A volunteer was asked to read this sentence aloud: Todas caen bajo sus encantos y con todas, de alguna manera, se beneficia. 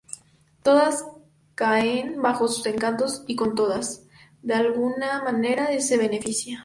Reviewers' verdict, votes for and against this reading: accepted, 4, 2